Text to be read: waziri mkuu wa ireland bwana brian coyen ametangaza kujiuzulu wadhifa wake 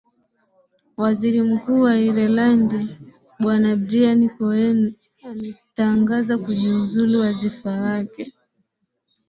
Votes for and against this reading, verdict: 4, 4, rejected